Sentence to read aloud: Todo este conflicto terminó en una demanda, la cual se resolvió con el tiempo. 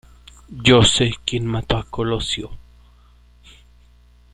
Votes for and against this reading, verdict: 0, 2, rejected